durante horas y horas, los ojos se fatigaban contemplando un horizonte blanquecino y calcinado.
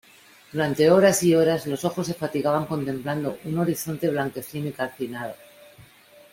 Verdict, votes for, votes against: accepted, 2, 0